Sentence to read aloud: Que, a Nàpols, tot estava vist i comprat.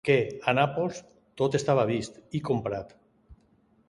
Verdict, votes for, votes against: accepted, 2, 0